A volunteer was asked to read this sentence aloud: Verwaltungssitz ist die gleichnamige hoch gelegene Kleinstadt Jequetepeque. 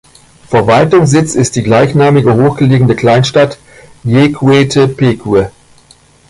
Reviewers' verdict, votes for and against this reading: accepted, 2, 1